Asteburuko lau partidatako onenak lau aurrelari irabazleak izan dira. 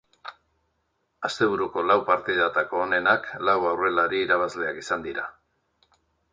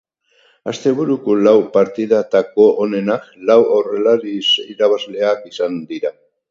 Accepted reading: first